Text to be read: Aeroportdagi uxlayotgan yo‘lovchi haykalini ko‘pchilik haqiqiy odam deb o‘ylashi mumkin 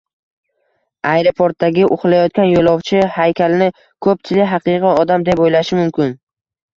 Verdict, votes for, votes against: rejected, 1, 2